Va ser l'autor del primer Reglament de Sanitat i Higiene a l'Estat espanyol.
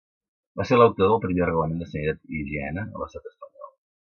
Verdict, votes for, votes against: rejected, 1, 2